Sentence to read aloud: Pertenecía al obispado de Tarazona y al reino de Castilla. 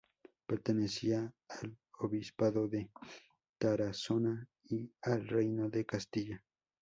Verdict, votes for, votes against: rejected, 0, 4